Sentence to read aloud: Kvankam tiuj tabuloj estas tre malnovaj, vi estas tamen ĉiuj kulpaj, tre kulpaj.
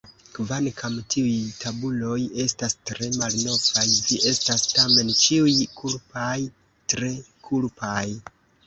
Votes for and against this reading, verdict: 1, 2, rejected